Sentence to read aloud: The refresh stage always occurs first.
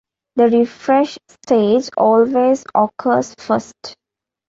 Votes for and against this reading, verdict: 2, 0, accepted